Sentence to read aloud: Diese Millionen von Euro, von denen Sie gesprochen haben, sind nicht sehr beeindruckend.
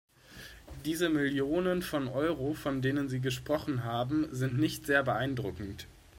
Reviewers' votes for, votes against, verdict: 2, 0, accepted